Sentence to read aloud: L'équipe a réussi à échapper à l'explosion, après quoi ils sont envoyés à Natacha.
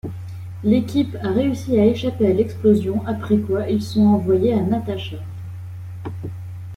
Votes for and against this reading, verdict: 0, 2, rejected